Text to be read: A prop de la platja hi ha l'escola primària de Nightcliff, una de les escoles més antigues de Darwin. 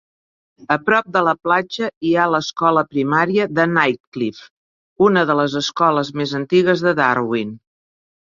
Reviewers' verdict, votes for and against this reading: accepted, 2, 0